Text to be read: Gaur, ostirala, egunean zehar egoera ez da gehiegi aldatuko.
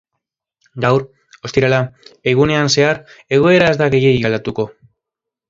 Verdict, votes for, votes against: accepted, 2, 0